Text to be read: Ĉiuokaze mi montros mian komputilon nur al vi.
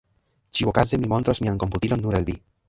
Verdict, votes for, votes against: rejected, 0, 2